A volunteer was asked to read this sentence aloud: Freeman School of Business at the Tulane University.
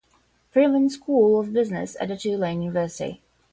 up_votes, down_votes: 0, 5